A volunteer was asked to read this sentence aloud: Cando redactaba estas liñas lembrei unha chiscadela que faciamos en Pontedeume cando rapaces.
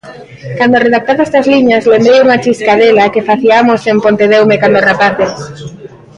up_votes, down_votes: 0, 2